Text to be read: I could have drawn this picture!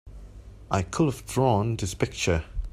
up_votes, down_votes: 2, 1